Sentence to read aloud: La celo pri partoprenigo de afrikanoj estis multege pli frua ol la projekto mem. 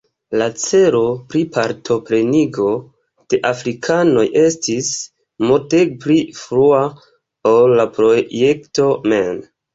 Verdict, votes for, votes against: rejected, 1, 2